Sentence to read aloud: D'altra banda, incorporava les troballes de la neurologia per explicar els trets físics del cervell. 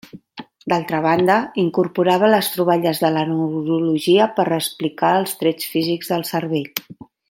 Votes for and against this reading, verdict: 0, 2, rejected